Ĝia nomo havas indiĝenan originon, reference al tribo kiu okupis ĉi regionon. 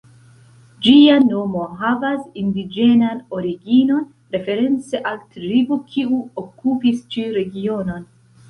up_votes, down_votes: 1, 2